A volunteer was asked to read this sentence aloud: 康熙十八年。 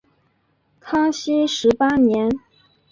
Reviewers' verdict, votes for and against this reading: accepted, 2, 0